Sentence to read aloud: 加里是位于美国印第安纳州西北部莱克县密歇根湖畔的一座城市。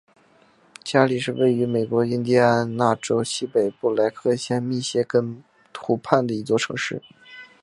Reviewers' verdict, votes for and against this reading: accepted, 5, 0